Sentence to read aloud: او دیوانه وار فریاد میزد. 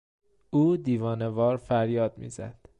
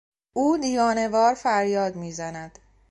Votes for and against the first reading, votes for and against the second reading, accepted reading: 2, 0, 0, 2, first